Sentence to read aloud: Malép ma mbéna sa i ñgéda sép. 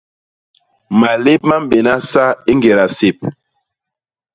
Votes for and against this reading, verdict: 2, 0, accepted